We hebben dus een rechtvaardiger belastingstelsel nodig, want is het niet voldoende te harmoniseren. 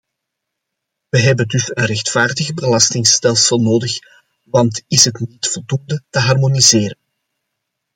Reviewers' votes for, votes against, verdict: 2, 0, accepted